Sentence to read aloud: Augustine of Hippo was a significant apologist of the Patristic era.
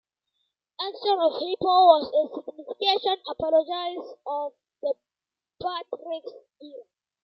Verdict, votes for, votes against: rejected, 0, 2